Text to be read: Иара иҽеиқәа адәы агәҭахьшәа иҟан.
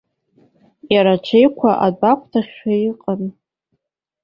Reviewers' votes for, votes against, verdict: 2, 1, accepted